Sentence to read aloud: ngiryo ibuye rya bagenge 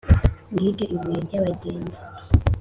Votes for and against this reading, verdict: 2, 0, accepted